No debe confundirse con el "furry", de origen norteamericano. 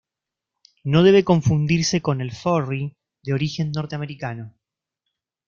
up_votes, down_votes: 2, 0